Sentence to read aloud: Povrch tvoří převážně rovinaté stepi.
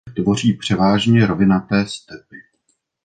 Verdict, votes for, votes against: rejected, 1, 2